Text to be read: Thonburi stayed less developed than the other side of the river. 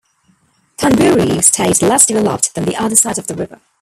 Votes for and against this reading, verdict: 0, 2, rejected